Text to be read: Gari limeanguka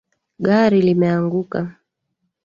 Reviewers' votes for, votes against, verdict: 3, 2, accepted